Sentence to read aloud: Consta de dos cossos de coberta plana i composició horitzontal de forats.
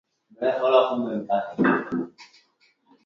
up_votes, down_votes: 2, 3